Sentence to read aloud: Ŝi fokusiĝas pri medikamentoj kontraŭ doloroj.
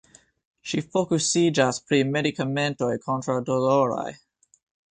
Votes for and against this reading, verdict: 0, 2, rejected